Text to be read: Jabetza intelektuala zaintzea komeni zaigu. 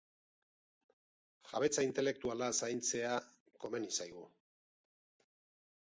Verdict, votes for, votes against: accepted, 3, 0